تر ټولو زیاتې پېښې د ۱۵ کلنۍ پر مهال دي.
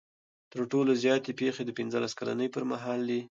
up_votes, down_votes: 0, 2